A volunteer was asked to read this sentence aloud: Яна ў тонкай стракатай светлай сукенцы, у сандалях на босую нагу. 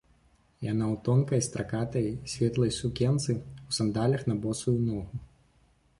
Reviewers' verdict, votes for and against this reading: rejected, 1, 2